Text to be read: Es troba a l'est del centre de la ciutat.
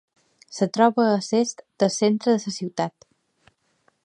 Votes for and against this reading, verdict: 1, 2, rejected